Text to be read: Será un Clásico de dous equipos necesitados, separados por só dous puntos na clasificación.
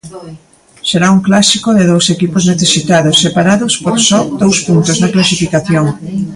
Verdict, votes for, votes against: accepted, 2, 0